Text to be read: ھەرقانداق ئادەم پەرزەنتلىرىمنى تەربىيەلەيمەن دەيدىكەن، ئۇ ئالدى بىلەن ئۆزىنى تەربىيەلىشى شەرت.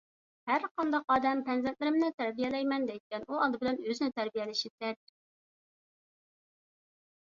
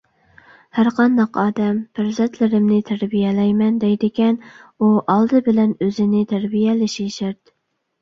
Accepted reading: second